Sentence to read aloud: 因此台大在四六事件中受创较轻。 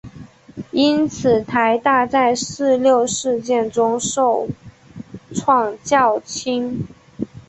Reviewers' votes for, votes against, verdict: 3, 2, accepted